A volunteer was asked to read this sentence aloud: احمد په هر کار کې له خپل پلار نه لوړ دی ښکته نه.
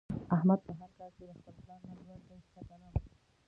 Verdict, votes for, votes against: rejected, 1, 2